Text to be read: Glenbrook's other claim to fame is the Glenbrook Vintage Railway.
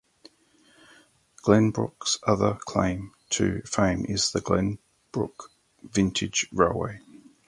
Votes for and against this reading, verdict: 2, 2, rejected